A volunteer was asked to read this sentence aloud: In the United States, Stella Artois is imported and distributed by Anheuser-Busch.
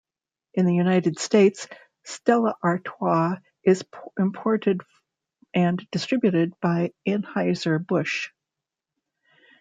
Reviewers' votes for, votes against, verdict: 0, 2, rejected